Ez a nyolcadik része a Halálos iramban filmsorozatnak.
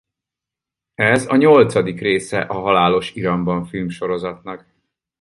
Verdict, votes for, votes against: accepted, 4, 0